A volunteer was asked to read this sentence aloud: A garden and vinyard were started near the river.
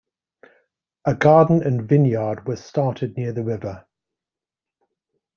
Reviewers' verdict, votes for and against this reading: accepted, 2, 0